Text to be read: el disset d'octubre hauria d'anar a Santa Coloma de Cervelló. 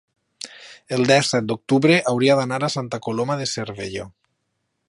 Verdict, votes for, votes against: rejected, 1, 2